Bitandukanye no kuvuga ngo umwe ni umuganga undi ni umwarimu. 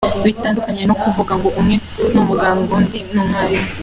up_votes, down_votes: 2, 0